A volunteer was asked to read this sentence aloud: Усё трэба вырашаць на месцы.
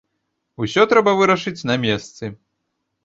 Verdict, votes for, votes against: rejected, 1, 2